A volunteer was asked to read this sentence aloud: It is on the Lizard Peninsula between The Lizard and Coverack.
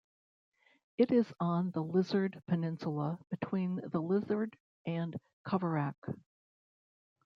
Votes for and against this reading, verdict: 0, 3, rejected